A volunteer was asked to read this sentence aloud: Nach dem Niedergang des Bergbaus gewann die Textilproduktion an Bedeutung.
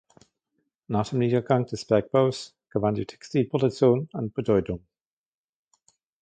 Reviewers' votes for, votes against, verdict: 1, 2, rejected